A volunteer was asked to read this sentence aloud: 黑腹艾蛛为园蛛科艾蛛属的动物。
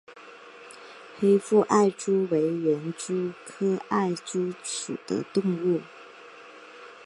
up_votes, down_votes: 4, 0